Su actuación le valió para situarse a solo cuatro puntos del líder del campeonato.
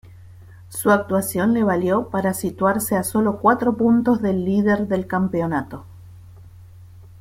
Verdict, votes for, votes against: accepted, 2, 0